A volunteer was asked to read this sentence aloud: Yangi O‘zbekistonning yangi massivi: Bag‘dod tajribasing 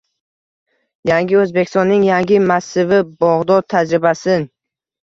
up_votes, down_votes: 1, 2